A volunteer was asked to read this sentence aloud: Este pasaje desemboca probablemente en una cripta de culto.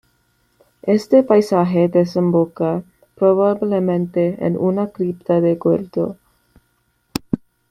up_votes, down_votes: 2, 1